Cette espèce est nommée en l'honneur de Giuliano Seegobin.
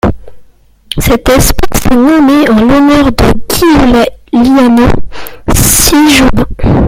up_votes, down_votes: 0, 2